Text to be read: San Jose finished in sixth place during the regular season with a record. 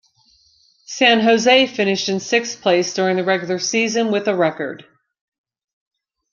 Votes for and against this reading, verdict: 0, 2, rejected